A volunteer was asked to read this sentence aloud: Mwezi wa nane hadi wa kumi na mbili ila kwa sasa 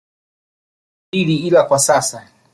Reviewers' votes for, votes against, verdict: 2, 1, accepted